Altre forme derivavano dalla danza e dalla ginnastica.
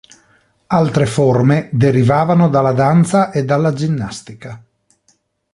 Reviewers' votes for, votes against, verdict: 2, 0, accepted